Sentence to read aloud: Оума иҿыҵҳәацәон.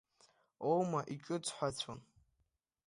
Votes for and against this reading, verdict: 2, 0, accepted